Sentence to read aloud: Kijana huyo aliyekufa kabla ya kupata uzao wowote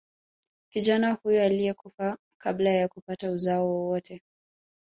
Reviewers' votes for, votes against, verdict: 2, 1, accepted